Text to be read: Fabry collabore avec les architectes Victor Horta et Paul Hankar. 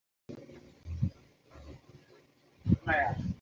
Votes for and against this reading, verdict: 0, 2, rejected